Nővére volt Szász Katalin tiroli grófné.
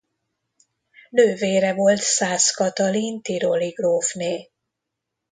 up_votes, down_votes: 2, 0